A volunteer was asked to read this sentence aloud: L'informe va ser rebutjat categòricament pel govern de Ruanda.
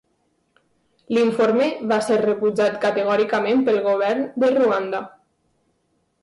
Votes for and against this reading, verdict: 2, 0, accepted